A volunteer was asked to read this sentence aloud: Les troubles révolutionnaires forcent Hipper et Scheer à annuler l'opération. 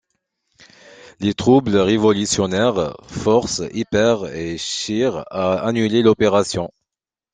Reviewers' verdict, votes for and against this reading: accepted, 2, 0